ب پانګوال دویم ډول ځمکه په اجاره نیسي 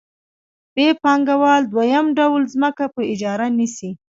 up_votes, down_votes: 2, 0